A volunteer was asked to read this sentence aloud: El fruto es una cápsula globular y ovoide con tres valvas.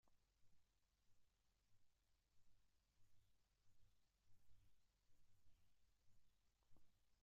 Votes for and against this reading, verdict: 0, 4, rejected